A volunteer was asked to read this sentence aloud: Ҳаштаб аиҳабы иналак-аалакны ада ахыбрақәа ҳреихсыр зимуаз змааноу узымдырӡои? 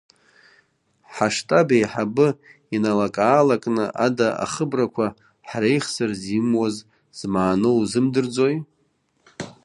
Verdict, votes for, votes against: accepted, 2, 1